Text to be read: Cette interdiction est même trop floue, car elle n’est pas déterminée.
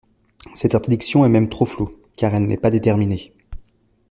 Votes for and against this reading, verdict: 2, 0, accepted